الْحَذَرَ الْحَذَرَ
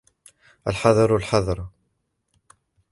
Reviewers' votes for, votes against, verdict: 2, 1, accepted